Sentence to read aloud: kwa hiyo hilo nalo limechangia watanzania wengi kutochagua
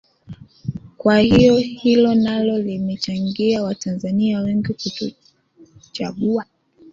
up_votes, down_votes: 2, 1